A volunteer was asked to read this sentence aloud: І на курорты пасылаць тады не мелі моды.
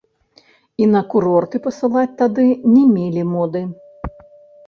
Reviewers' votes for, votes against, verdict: 1, 2, rejected